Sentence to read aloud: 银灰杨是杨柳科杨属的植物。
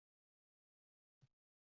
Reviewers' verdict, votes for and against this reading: rejected, 0, 2